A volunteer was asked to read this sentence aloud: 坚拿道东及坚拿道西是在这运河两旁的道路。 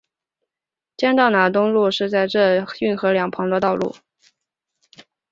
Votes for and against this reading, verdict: 1, 3, rejected